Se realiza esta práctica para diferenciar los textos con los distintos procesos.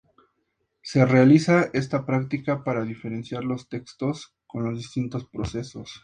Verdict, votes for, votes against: accepted, 2, 0